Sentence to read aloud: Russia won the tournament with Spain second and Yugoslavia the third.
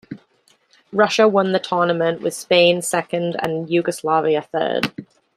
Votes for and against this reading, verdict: 0, 2, rejected